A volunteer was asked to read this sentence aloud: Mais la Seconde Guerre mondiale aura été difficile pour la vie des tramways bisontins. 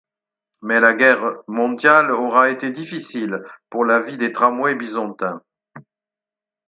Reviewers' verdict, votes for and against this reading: rejected, 2, 4